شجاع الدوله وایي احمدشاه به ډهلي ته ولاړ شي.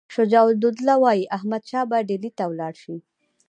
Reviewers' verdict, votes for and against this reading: rejected, 1, 2